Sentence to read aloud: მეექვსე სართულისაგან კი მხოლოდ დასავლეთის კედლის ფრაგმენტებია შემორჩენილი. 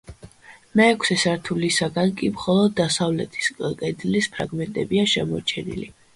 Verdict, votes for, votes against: accepted, 2, 0